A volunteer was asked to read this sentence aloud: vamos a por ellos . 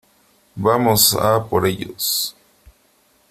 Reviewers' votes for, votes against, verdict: 3, 1, accepted